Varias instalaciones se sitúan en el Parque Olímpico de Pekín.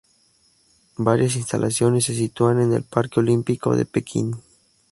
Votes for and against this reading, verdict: 2, 0, accepted